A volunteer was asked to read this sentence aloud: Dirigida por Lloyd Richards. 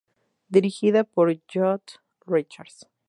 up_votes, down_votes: 2, 2